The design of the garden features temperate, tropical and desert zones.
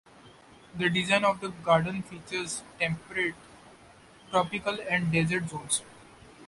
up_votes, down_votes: 1, 2